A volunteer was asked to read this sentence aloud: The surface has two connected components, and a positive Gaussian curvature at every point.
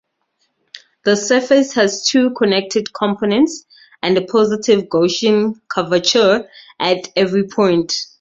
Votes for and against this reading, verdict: 2, 2, rejected